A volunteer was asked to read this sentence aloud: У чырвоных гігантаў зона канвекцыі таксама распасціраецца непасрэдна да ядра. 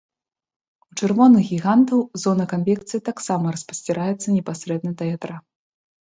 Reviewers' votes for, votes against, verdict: 2, 0, accepted